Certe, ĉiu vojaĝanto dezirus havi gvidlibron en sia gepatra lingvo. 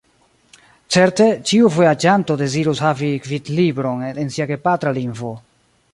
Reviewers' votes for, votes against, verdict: 2, 0, accepted